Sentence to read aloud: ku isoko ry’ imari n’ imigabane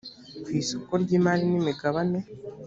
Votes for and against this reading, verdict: 2, 0, accepted